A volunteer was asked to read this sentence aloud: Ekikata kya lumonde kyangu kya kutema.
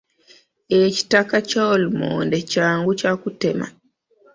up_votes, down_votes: 0, 2